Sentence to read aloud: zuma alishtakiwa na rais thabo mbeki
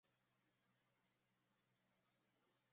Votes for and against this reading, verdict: 0, 2, rejected